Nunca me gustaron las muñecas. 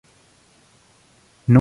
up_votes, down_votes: 0, 2